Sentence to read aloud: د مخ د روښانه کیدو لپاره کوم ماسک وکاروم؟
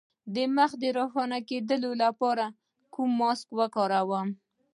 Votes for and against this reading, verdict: 2, 0, accepted